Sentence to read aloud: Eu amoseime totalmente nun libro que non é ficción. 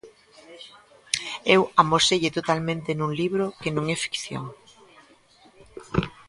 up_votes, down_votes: 1, 2